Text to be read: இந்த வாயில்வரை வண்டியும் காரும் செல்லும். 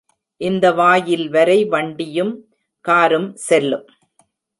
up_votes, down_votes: 4, 0